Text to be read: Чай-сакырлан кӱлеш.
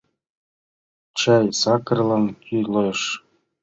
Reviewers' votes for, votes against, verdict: 0, 2, rejected